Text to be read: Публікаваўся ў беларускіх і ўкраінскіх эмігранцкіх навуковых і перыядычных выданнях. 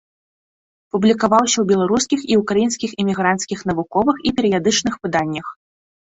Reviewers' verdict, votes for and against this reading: accepted, 2, 0